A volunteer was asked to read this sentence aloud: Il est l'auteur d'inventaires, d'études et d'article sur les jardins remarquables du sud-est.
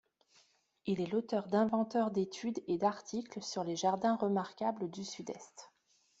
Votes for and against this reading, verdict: 0, 2, rejected